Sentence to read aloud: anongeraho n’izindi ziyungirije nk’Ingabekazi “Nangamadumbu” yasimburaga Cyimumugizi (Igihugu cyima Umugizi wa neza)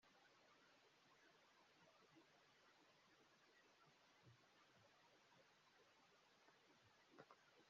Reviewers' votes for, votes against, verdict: 0, 2, rejected